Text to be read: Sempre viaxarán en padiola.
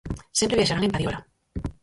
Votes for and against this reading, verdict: 0, 4, rejected